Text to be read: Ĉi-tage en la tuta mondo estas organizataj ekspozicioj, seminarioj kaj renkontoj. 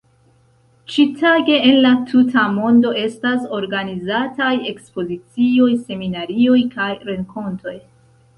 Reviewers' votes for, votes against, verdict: 3, 2, accepted